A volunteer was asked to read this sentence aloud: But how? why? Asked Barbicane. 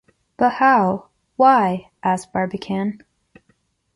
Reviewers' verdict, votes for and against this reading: accepted, 2, 0